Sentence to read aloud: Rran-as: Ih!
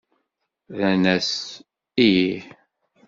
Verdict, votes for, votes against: accepted, 2, 0